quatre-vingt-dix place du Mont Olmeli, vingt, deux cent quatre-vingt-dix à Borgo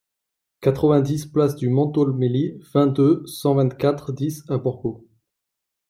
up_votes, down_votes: 0, 2